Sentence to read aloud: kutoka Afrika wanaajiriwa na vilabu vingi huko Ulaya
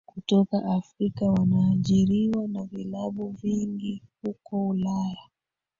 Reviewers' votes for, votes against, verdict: 3, 2, accepted